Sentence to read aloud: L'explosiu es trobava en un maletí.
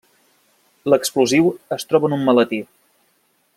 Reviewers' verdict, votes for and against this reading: rejected, 0, 2